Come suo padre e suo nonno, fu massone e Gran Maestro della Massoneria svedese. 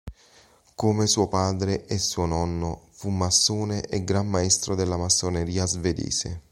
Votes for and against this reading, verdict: 2, 0, accepted